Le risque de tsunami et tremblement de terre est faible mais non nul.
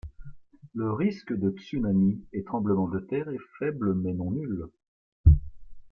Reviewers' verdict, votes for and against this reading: rejected, 1, 2